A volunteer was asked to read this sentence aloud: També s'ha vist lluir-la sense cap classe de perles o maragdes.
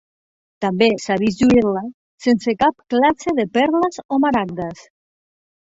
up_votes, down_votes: 3, 0